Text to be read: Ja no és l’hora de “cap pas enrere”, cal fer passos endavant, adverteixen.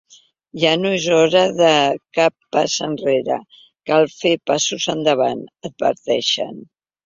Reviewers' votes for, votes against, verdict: 1, 2, rejected